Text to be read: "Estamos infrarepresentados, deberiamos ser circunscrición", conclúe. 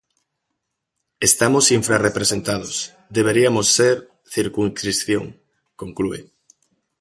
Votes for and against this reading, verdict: 0, 3, rejected